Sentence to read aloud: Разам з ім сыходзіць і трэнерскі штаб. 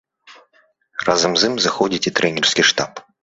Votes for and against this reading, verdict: 0, 2, rejected